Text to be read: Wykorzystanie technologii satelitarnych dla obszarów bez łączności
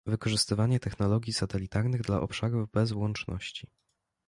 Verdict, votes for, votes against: rejected, 0, 2